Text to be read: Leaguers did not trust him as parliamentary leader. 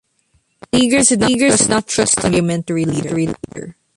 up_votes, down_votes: 0, 3